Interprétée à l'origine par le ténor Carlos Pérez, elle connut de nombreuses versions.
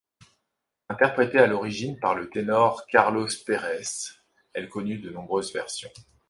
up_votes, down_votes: 2, 0